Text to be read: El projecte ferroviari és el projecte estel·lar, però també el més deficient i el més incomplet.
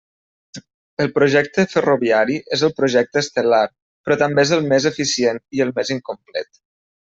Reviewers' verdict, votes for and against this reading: rejected, 1, 2